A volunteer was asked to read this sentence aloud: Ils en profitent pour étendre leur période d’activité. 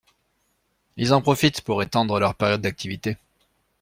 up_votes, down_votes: 2, 0